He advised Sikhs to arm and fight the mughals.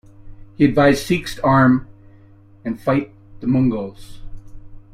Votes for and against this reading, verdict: 1, 2, rejected